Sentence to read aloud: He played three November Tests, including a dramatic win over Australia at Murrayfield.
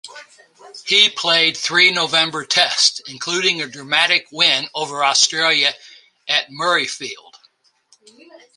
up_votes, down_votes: 2, 0